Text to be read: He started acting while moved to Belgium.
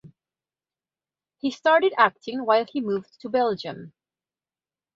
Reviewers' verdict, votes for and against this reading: rejected, 1, 2